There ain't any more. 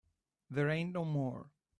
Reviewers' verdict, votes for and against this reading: rejected, 1, 2